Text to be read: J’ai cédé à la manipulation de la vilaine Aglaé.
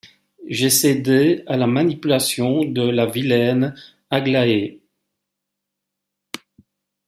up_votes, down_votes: 2, 0